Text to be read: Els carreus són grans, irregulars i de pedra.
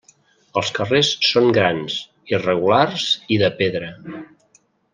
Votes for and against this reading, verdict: 0, 2, rejected